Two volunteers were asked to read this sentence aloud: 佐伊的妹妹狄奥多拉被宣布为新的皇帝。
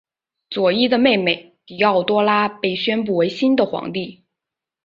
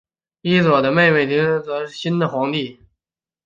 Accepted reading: first